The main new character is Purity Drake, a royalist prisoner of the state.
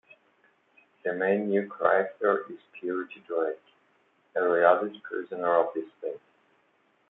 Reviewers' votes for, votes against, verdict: 1, 2, rejected